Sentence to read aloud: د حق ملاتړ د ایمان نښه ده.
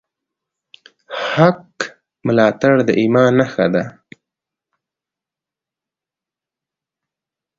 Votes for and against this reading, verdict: 2, 0, accepted